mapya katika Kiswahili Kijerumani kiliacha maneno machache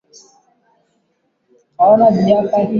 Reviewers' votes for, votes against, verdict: 0, 2, rejected